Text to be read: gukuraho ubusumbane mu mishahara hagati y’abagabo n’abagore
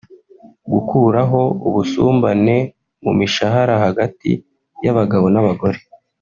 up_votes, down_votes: 3, 0